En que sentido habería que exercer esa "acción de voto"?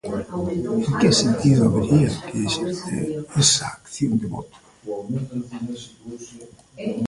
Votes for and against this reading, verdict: 1, 2, rejected